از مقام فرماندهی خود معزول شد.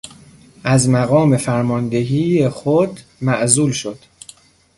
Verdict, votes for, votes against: rejected, 1, 2